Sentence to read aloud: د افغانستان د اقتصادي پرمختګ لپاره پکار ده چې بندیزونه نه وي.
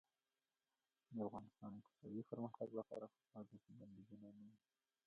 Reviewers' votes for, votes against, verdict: 2, 1, accepted